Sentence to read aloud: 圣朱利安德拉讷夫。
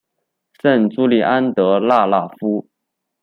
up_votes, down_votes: 2, 1